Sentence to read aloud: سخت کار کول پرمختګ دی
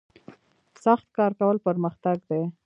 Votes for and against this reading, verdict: 2, 0, accepted